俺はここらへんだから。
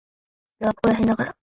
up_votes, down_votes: 2, 0